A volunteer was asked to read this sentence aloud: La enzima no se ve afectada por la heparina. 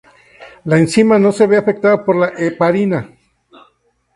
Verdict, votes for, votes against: accepted, 2, 0